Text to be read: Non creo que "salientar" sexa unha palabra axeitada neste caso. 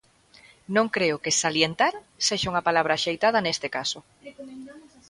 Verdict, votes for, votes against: accepted, 2, 1